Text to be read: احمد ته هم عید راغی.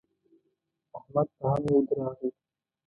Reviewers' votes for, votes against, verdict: 1, 2, rejected